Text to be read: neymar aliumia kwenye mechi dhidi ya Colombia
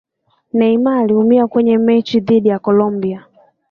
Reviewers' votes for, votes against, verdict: 2, 0, accepted